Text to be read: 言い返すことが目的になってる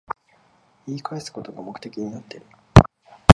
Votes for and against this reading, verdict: 2, 0, accepted